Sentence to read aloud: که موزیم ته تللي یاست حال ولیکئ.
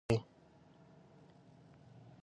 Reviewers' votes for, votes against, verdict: 1, 2, rejected